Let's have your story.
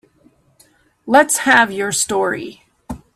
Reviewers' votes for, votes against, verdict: 2, 0, accepted